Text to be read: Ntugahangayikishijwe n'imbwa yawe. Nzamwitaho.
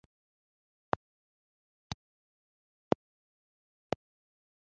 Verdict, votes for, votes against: rejected, 1, 2